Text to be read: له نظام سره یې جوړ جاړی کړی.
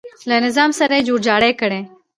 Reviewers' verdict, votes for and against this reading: accepted, 2, 0